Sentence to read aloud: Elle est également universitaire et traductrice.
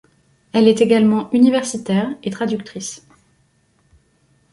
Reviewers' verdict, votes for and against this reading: accepted, 2, 1